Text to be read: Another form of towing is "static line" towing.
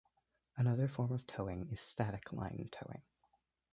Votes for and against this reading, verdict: 2, 1, accepted